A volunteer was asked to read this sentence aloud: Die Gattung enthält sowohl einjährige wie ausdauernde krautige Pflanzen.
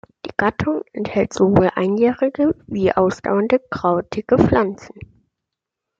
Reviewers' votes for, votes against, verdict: 2, 0, accepted